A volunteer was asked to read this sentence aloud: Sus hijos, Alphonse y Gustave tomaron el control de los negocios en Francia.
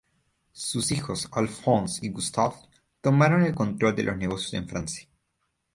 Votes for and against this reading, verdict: 0, 2, rejected